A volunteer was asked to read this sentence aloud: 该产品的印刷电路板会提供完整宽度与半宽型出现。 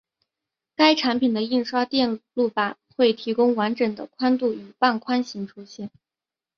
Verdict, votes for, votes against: accepted, 3, 0